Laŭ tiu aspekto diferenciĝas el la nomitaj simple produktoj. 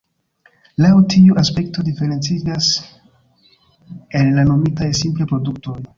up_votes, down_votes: 1, 2